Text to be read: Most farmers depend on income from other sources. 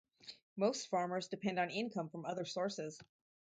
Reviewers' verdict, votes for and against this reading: accepted, 4, 0